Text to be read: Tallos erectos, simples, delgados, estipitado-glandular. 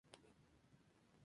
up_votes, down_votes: 0, 4